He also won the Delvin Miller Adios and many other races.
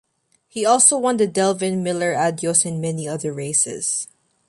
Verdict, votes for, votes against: accepted, 2, 0